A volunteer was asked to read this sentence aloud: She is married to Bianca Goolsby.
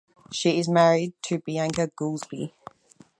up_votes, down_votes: 0, 4